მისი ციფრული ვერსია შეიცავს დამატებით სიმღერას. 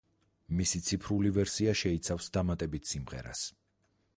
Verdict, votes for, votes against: accepted, 4, 0